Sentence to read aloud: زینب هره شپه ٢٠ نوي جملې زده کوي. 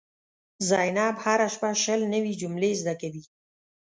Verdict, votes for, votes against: rejected, 0, 2